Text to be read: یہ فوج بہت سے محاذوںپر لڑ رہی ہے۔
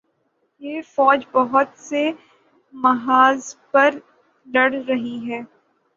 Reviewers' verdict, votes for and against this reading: rejected, 12, 24